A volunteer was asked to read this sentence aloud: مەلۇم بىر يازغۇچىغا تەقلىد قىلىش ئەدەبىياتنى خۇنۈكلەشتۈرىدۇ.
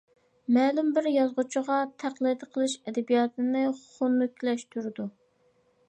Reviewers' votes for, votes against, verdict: 0, 2, rejected